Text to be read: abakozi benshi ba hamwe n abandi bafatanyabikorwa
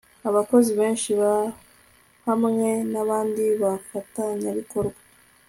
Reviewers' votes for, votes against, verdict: 2, 0, accepted